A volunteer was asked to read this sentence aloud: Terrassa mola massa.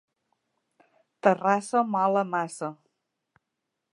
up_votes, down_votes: 1, 2